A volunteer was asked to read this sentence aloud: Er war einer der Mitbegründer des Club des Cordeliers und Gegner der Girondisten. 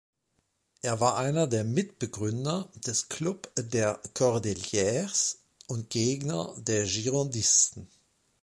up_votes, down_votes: 1, 3